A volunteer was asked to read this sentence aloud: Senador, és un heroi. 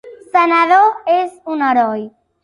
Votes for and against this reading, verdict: 3, 0, accepted